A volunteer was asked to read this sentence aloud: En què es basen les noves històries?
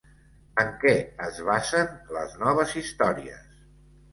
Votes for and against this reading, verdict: 2, 1, accepted